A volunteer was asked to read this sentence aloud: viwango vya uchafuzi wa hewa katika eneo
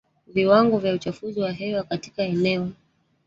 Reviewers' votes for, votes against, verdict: 1, 2, rejected